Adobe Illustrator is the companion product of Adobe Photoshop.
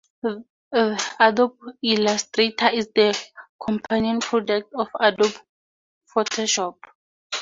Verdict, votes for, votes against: rejected, 0, 6